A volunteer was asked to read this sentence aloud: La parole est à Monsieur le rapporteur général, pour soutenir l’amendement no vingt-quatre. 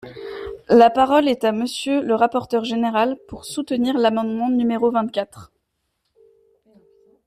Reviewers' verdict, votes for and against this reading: accepted, 2, 0